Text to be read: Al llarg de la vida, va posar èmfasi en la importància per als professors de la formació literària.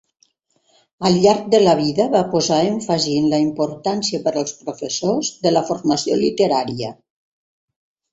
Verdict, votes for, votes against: rejected, 1, 3